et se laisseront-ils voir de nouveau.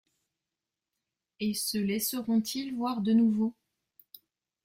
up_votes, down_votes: 2, 0